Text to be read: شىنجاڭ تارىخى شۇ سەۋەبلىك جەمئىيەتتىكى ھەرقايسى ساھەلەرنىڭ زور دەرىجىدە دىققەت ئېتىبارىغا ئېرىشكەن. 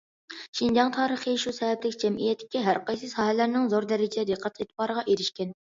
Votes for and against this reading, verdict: 2, 0, accepted